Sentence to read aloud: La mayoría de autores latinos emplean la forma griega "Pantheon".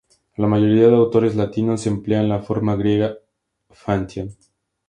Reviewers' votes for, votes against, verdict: 2, 0, accepted